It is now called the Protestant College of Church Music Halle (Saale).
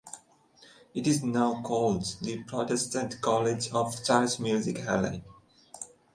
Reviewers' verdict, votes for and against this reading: rejected, 1, 2